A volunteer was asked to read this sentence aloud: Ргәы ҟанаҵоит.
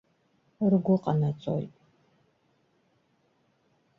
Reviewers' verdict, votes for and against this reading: rejected, 1, 2